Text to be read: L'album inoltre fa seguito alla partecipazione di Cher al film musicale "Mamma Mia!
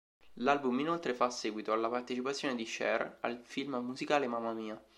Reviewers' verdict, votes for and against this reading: accepted, 2, 0